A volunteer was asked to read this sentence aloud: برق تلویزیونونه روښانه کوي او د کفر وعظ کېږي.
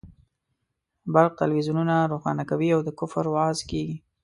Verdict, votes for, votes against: accepted, 2, 0